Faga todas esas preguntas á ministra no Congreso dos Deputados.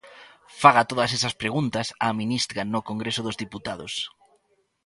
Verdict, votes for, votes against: rejected, 0, 2